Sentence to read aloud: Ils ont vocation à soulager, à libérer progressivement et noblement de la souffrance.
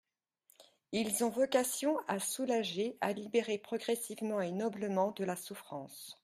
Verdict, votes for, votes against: accepted, 2, 0